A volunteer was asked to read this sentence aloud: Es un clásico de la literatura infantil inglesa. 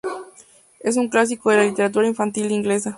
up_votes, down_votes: 2, 2